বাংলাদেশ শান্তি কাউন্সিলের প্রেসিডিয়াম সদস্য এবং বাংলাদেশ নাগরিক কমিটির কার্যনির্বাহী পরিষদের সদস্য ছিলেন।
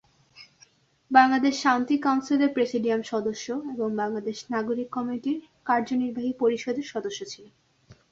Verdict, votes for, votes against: accepted, 2, 0